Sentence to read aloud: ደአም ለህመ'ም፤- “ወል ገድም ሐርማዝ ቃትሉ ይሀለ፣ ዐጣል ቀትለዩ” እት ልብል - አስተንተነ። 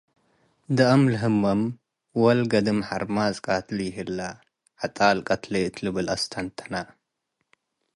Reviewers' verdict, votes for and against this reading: accepted, 2, 0